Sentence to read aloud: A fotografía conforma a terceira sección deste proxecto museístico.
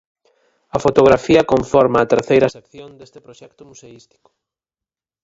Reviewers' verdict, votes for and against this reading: rejected, 2, 4